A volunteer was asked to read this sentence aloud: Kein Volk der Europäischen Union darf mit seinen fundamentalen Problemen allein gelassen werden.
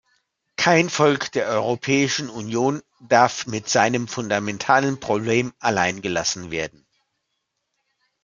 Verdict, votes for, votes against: rejected, 1, 2